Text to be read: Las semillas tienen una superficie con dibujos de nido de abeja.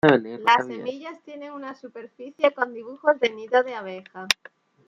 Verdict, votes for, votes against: accepted, 2, 0